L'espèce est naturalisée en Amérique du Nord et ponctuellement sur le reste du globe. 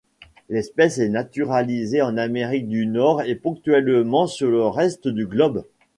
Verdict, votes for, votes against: accepted, 2, 0